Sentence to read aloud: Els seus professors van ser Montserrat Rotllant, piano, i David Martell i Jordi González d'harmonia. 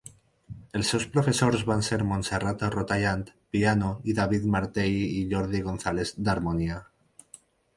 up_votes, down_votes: 0, 4